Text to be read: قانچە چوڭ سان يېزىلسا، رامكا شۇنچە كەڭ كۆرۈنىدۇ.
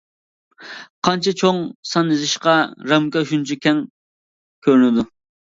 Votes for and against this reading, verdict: 0, 2, rejected